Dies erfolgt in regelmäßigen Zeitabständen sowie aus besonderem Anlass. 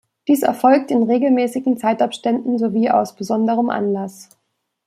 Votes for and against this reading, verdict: 2, 0, accepted